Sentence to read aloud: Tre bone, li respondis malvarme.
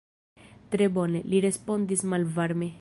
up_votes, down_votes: 2, 0